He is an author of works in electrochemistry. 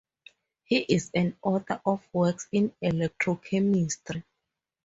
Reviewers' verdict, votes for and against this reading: accepted, 4, 2